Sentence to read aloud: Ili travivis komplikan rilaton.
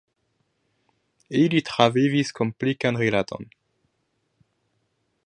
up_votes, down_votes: 2, 0